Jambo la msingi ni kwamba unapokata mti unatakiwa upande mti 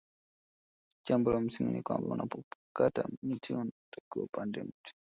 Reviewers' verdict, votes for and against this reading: rejected, 1, 2